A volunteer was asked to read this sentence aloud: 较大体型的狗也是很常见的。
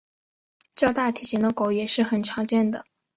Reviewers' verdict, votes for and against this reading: accepted, 2, 1